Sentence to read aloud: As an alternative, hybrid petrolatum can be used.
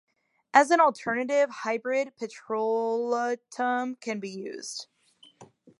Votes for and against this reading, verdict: 0, 2, rejected